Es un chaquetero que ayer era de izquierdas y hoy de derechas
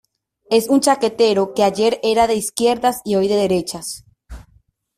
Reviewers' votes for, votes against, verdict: 2, 0, accepted